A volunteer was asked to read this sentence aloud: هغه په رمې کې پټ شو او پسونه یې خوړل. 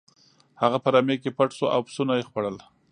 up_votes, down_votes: 2, 0